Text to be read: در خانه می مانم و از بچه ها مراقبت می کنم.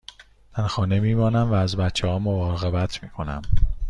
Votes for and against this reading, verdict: 1, 2, rejected